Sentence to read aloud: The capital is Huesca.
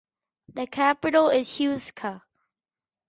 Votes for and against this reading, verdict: 2, 4, rejected